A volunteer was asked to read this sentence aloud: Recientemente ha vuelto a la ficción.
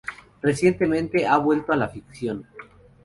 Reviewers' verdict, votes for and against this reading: accepted, 2, 0